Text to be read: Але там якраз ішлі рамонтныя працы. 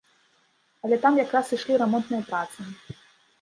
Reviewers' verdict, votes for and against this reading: accepted, 2, 0